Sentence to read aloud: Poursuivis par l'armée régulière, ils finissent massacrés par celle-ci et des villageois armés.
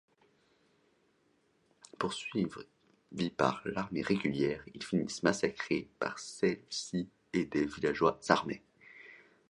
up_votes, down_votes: 1, 2